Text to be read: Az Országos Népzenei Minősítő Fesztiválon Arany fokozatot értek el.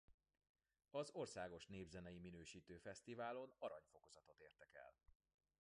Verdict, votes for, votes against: rejected, 1, 2